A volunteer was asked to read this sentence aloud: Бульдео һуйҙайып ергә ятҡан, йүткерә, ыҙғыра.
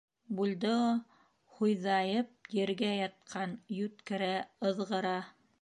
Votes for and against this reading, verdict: 3, 0, accepted